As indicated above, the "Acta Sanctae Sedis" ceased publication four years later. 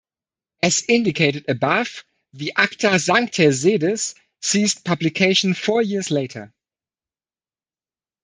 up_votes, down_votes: 2, 0